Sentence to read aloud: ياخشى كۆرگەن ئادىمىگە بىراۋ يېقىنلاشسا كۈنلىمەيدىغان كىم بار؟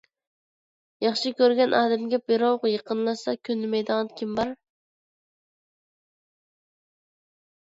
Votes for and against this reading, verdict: 0, 2, rejected